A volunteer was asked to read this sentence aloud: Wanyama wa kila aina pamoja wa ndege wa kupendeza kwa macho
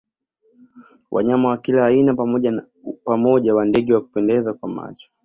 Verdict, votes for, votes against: rejected, 0, 2